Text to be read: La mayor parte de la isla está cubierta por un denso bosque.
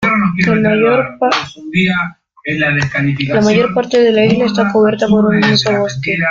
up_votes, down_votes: 0, 2